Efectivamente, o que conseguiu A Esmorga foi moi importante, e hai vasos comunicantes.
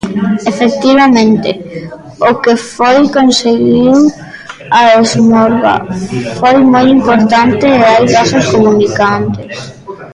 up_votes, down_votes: 0, 2